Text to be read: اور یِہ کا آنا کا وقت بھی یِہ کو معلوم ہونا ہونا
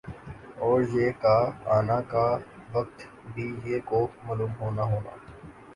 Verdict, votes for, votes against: rejected, 0, 2